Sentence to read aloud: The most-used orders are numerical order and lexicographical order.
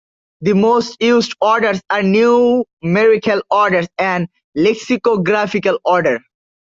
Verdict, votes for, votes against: rejected, 1, 2